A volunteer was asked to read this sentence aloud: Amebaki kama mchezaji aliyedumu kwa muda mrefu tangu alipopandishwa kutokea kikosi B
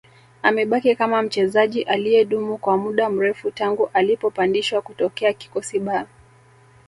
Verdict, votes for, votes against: rejected, 0, 2